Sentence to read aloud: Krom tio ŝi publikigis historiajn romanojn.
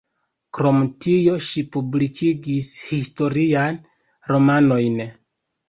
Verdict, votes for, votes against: rejected, 1, 2